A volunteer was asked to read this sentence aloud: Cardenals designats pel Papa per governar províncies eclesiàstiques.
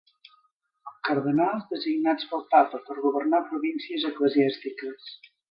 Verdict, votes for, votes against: accepted, 4, 2